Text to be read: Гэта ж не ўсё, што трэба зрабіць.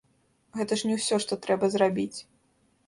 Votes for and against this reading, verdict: 0, 2, rejected